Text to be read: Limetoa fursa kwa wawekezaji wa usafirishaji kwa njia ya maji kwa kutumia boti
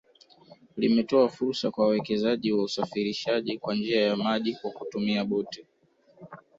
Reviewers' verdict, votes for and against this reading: rejected, 1, 2